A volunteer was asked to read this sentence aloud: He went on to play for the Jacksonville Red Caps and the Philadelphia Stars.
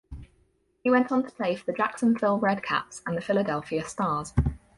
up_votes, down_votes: 2, 2